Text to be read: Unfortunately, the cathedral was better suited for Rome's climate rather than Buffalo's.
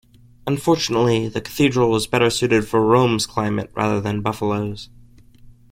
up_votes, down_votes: 2, 0